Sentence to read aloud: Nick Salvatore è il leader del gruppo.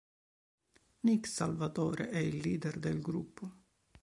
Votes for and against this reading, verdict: 3, 0, accepted